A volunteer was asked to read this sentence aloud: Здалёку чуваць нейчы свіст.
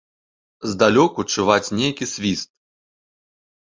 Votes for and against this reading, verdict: 1, 3, rejected